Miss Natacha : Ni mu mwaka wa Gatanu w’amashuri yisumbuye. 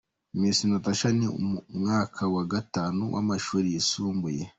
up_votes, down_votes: 1, 2